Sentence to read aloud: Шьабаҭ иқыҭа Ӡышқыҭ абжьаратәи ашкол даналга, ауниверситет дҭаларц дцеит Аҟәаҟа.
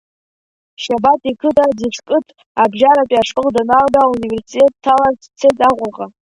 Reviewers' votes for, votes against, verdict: 2, 0, accepted